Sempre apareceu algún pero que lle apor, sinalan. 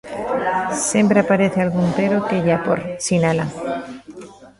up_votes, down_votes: 1, 2